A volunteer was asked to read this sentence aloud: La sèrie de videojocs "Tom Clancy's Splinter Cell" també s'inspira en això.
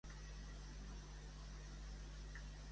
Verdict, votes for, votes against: rejected, 0, 2